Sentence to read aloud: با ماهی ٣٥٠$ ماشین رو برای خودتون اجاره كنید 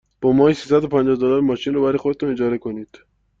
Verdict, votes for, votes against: rejected, 0, 2